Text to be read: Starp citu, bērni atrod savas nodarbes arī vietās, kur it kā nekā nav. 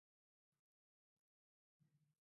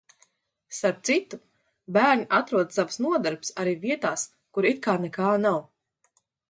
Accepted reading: second